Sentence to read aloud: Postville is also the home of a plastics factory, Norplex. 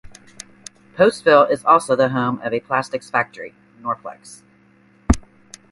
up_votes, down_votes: 2, 0